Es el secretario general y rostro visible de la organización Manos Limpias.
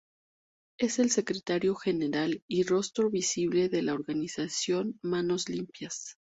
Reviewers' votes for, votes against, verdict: 2, 0, accepted